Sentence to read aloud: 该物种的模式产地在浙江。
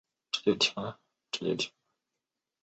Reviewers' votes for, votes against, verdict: 5, 3, accepted